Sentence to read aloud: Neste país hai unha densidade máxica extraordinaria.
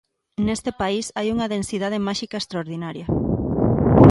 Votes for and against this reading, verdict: 2, 0, accepted